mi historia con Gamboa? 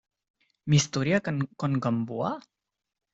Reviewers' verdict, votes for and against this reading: rejected, 0, 2